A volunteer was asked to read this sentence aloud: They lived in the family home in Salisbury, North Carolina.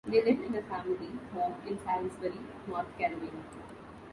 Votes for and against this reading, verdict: 1, 2, rejected